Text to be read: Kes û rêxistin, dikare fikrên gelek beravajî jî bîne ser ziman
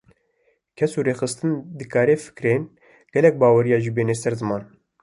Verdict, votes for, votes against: rejected, 1, 2